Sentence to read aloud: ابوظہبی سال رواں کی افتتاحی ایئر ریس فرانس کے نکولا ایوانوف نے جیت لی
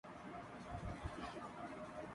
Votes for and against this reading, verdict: 0, 6, rejected